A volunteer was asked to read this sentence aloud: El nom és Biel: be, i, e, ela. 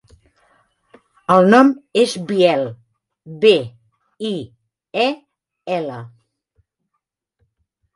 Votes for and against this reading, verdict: 5, 0, accepted